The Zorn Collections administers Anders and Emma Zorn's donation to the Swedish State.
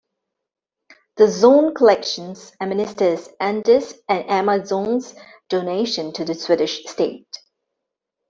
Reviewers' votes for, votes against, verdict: 1, 2, rejected